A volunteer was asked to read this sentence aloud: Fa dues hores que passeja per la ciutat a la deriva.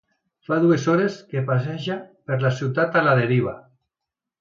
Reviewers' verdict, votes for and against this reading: accepted, 2, 0